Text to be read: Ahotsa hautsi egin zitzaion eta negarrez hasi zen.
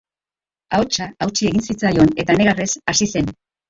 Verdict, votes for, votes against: rejected, 0, 2